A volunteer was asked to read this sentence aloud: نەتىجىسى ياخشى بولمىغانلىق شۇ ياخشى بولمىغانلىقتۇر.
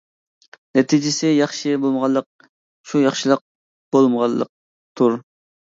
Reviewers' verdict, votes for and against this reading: rejected, 0, 2